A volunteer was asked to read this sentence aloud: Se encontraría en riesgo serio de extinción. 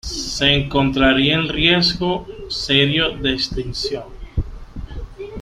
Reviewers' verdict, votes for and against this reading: accepted, 2, 1